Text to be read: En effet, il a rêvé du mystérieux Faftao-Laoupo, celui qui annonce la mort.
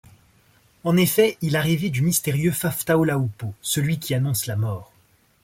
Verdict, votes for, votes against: accepted, 2, 0